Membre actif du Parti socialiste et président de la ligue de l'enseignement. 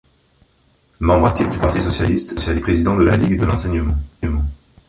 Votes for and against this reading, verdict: 1, 2, rejected